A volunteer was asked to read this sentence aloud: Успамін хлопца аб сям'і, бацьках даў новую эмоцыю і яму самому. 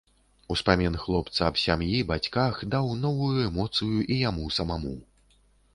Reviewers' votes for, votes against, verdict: 1, 2, rejected